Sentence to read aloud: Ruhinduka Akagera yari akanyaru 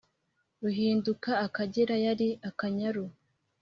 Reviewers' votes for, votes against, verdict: 2, 0, accepted